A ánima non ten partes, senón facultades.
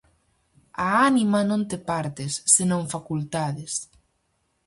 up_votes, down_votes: 2, 2